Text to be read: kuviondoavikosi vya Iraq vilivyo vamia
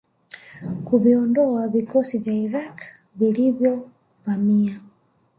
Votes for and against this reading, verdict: 1, 2, rejected